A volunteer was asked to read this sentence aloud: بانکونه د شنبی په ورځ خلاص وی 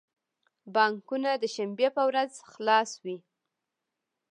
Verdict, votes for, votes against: accepted, 2, 0